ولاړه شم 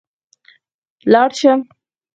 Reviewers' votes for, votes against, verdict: 2, 4, rejected